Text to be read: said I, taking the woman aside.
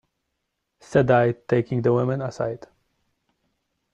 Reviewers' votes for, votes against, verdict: 2, 0, accepted